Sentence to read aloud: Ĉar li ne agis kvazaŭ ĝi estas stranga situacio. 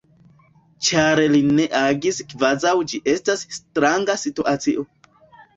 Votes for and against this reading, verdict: 0, 2, rejected